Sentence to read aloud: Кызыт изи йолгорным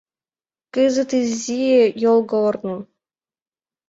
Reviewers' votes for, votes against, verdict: 2, 0, accepted